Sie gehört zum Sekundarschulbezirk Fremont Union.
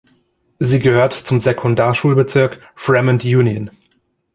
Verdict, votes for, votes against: accepted, 2, 0